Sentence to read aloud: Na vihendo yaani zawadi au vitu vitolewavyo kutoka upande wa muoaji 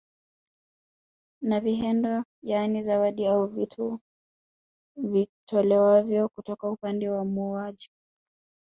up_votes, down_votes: 0, 2